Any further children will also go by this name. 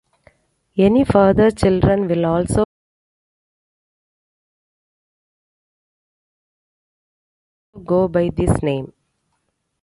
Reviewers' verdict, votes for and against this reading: rejected, 0, 2